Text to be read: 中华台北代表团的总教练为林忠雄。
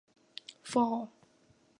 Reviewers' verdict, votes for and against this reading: rejected, 0, 5